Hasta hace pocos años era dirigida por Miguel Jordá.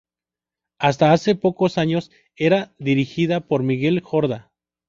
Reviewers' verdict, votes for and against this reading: rejected, 0, 2